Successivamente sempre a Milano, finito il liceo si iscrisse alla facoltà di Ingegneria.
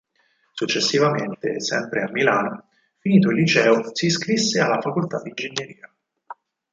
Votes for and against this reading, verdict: 4, 0, accepted